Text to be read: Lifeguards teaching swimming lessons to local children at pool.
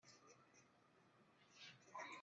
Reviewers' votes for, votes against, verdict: 0, 2, rejected